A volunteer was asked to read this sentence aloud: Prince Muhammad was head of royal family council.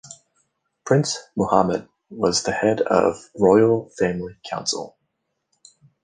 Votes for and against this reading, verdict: 1, 2, rejected